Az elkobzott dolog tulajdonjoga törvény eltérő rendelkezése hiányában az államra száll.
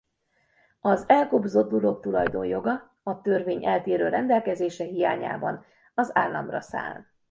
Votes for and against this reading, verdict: 0, 2, rejected